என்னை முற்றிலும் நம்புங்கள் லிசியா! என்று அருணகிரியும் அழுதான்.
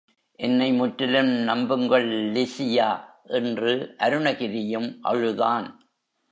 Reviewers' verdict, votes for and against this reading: rejected, 1, 2